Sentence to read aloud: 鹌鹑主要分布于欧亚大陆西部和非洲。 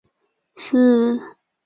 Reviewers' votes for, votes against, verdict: 0, 4, rejected